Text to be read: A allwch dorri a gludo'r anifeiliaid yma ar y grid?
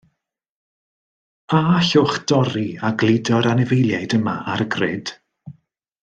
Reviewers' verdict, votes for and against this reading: accepted, 3, 0